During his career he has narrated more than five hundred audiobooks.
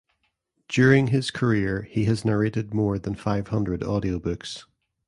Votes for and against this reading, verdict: 2, 0, accepted